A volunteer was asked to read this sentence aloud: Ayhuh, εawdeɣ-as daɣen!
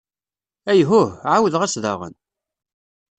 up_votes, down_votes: 2, 0